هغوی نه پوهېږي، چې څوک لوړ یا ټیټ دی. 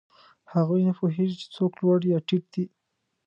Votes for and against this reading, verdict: 2, 0, accepted